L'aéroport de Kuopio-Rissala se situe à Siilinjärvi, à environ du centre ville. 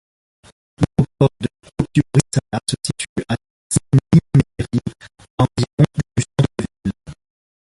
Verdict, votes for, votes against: rejected, 0, 2